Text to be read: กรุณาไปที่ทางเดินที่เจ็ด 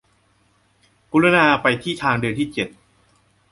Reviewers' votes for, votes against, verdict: 2, 3, rejected